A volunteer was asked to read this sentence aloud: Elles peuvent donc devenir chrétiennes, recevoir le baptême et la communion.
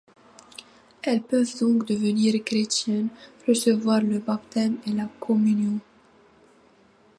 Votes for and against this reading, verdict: 2, 1, accepted